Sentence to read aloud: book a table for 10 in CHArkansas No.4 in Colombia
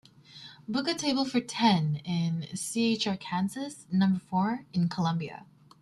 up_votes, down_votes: 0, 2